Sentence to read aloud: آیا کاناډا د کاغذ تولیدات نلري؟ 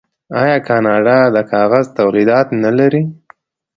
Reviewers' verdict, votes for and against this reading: accepted, 2, 0